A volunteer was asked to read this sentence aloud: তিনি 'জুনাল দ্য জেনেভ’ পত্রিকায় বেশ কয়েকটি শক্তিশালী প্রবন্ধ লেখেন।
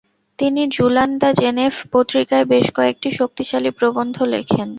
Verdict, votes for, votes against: rejected, 0, 2